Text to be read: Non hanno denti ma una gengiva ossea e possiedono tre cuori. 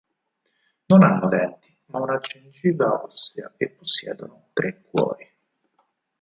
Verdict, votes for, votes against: rejected, 2, 4